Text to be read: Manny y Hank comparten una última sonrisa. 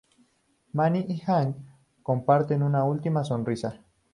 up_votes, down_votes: 2, 0